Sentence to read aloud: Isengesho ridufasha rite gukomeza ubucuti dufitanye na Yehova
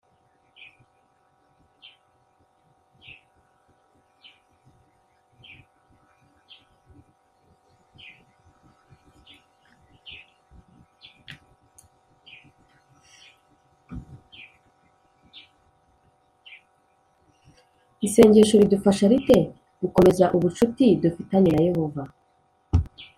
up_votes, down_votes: 0, 2